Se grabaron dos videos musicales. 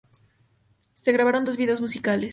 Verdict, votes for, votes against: accepted, 2, 0